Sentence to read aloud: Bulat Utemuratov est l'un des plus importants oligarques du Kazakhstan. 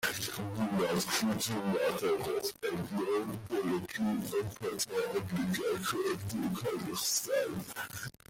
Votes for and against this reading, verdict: 0, 2, rejected